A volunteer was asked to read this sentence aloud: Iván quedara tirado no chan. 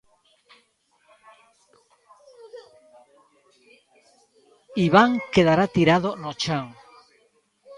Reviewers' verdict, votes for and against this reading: rejected, 1, 3